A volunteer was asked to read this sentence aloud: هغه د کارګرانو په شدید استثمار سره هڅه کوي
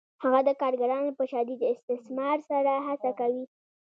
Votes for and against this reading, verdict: 2, 0, accepted